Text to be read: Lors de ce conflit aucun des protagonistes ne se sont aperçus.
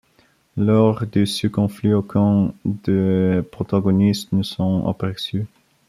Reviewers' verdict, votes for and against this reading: rejected, 0, 2